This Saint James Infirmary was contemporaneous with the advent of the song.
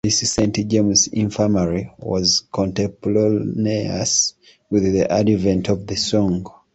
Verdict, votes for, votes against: rejected, 0, 2